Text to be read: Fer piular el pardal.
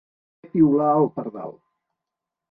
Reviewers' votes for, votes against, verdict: 0, 3, rejected